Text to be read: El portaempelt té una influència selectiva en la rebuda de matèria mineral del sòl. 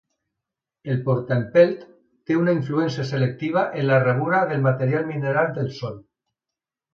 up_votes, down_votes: 0, 3